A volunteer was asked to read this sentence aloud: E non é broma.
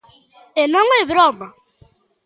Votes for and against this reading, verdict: 2, 0, accepted